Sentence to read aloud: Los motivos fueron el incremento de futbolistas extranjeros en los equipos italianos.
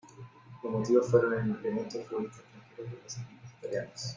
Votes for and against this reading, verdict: 0, 3, rejected